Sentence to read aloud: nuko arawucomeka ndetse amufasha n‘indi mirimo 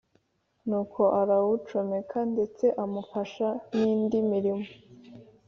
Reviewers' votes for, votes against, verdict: 3, 0, accepted